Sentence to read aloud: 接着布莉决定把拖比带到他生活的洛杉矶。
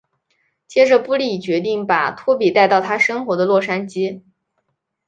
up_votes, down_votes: 8, 0